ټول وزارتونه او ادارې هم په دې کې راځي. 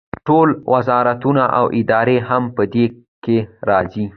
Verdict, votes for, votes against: accepted, 2, 0